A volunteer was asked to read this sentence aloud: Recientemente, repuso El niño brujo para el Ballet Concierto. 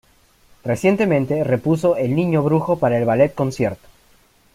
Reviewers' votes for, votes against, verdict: 1, 2, rejected